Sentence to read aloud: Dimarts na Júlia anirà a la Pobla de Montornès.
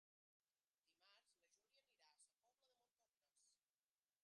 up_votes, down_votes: 0, 2